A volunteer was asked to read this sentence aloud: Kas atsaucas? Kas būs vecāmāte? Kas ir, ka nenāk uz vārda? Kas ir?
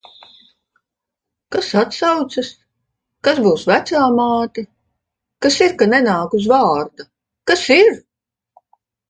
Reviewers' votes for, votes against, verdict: 2, 0, accepted